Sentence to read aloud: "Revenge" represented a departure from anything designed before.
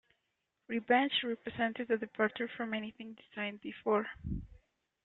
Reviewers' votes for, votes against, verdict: 1, 2, rejected